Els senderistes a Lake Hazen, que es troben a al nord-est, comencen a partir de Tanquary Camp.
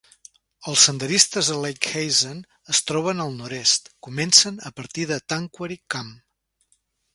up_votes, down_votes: 0, 2